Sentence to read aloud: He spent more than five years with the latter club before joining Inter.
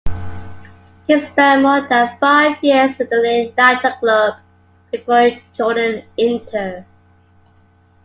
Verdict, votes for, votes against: rejected, 0, 2